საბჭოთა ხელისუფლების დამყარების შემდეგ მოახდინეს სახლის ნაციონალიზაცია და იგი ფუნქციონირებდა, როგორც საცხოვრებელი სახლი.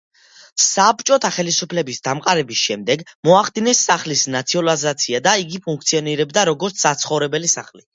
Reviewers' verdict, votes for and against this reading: accepted, 2, 0